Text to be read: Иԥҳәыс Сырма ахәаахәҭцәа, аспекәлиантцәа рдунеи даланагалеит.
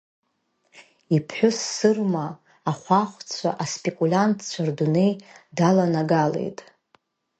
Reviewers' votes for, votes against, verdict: 1, 2, rejected